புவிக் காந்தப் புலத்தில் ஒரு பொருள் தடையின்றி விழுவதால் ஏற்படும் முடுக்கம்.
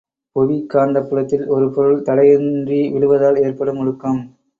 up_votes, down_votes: 2, 0